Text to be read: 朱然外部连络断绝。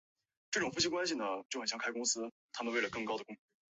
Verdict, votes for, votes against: rejected, 1, 5